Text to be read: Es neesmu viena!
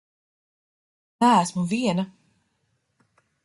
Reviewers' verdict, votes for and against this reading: rejected, 0, 2